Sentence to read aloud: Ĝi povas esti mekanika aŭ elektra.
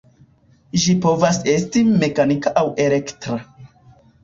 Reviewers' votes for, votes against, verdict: 0, 2, rejected